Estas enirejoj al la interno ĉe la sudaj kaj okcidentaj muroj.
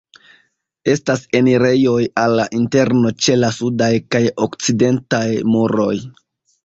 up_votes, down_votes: 1, 2